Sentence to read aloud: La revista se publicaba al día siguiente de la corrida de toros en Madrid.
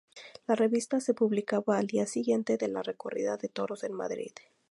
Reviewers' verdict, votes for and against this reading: rejected, 0, 2